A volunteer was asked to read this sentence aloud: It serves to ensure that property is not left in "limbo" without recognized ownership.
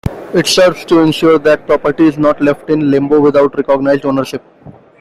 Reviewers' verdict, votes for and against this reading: accepted, 2, 0